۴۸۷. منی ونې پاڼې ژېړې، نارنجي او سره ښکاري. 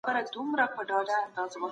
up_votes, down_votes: 0, 2